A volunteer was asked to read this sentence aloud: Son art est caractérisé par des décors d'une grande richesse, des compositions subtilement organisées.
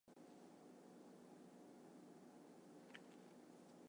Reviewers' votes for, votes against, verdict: 0, 2, rejected